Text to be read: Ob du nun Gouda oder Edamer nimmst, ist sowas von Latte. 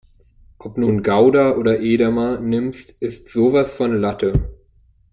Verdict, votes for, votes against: rejected, 0, 2